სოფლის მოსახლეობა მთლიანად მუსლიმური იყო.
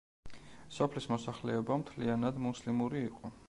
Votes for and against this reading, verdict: 2, 0, accepted